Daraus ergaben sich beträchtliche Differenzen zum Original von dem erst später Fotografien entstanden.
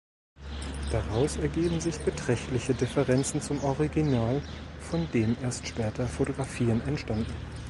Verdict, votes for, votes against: rejected, 0, 2